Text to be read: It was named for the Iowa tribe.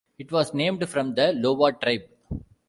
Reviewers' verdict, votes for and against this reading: rejected, 1, 2